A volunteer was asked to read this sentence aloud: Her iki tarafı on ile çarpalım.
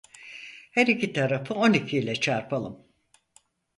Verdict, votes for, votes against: rejected, 0, 4